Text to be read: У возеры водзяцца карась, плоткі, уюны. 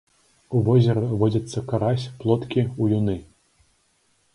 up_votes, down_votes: 2, 0